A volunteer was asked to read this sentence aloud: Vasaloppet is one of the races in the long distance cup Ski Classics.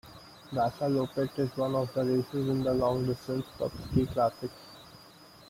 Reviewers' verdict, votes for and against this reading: accepted, 2, 0